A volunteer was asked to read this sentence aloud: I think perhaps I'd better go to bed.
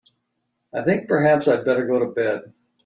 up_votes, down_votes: 2, 0